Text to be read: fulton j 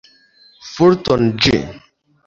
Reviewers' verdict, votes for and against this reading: rejected, 1, 2